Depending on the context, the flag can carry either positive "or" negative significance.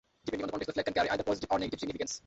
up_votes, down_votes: 0, 3